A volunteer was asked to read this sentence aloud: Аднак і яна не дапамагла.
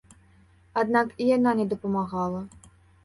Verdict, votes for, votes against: rejected, 0, 2